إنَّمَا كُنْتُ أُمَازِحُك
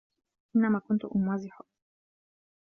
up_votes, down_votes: 2, 0